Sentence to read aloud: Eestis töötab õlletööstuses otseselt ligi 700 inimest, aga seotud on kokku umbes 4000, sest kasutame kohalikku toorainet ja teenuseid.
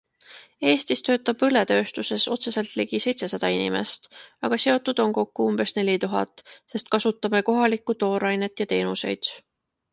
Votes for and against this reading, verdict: 0, 2, rejected